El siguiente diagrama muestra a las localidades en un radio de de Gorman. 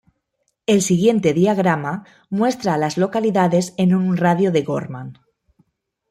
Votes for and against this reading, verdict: 1, 2, rejected